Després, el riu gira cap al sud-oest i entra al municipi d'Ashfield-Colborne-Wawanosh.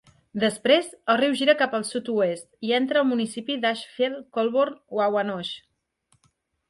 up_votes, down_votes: 2, 0